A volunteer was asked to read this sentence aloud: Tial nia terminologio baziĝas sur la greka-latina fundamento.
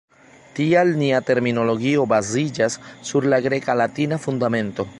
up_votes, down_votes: 2, 0